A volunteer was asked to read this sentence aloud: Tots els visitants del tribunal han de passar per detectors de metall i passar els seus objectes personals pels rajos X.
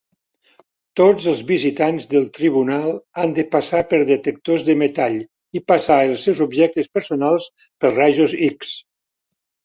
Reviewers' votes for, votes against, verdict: 3, 0, accepted